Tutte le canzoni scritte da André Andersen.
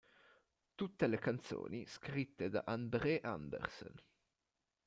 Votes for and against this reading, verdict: 1, 2, rejected